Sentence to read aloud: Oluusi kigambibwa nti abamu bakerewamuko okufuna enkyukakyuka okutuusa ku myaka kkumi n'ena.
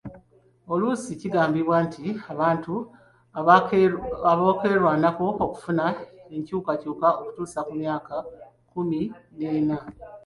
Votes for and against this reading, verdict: 1, 2, rejected